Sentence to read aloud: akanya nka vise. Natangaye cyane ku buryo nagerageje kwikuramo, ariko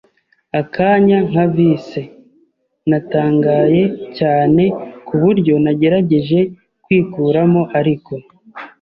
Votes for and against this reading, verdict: 2, 0, accepted